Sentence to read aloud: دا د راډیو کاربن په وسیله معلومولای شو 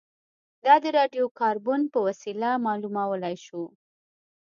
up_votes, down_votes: 2, 0